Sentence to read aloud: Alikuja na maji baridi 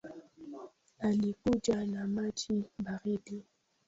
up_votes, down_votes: 0, 2